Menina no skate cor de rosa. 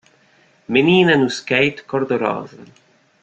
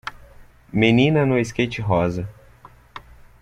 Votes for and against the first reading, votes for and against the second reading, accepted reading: 3, 0, 1, 2, first